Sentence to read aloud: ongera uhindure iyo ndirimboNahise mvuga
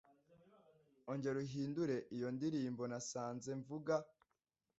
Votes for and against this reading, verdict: 2, 1, accepted